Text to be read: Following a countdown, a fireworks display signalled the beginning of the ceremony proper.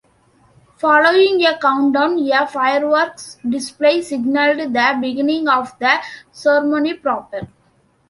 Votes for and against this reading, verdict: 2, 1, accepted